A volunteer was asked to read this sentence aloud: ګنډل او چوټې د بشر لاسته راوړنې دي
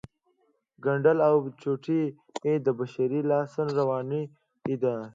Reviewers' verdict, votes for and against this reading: accepted, 2, 0